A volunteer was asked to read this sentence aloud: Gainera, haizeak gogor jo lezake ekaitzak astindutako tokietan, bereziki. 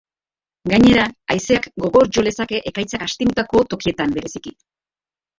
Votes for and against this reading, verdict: 1, 3, rejected